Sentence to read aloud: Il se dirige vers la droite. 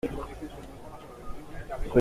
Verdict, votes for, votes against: rejected, 0, 2